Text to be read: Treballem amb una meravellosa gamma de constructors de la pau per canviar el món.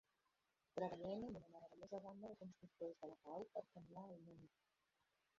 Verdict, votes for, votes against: rejected, 0, 2